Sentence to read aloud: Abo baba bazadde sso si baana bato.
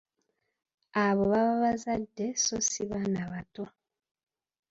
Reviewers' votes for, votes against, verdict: 2, 1, accepted